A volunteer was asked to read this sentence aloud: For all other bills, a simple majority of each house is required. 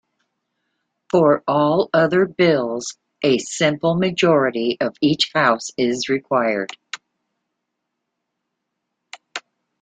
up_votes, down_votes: 2, 0